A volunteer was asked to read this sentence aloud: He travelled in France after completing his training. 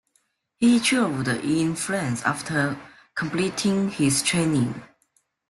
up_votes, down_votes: 2, 1